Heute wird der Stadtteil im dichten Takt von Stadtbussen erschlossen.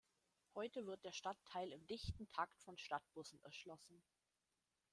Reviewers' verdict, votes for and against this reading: rejected, 1, 2